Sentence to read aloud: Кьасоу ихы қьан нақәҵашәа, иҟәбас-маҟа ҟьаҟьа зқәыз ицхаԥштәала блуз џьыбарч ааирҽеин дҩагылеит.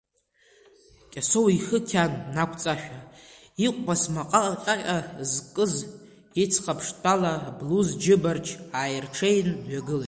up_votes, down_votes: 0, 2